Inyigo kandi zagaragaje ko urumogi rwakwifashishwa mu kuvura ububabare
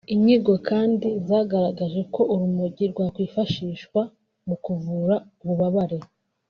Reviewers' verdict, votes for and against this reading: rejected, 0, 2